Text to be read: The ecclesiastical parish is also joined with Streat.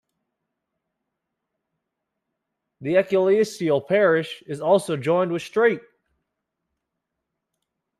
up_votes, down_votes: 2, 1